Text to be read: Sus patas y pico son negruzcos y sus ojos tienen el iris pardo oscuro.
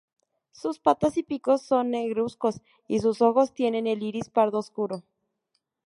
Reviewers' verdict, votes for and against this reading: accepted, 4, 0